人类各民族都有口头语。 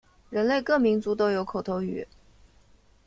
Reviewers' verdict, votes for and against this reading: accepted, 2, 1